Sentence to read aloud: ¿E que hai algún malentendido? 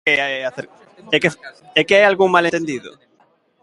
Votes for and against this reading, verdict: 0, 2, rejected